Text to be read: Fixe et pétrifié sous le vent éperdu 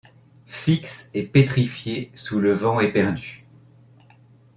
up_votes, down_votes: 2, 0